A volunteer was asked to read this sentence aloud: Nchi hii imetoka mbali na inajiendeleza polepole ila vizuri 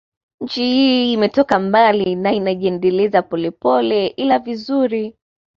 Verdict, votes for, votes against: accepted, 2, 0